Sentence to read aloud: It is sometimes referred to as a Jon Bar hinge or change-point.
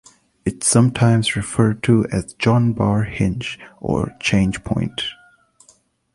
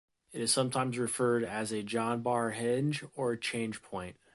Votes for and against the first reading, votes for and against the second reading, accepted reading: 2, 0, 1, 2, first